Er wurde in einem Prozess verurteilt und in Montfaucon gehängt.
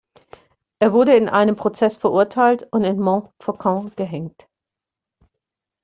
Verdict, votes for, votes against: accepted, 2, 0